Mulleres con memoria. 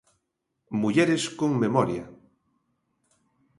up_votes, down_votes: 2, 0